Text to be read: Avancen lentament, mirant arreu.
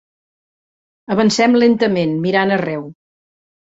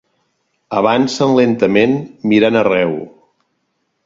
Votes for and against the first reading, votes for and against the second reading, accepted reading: 0, 2, 3, 0, second